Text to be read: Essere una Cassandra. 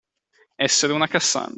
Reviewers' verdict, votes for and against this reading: rejected, 0, 2